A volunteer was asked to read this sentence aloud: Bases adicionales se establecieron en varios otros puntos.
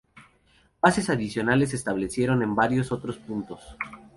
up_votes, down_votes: 2, 0